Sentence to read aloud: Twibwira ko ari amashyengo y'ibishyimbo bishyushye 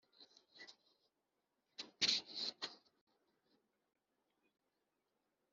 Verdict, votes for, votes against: rejected, 1, 3